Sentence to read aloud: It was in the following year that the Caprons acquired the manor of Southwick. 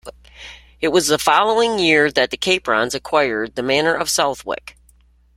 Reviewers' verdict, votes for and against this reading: accepted, 2, 1